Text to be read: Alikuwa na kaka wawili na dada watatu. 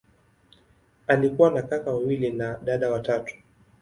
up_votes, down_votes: 4, 0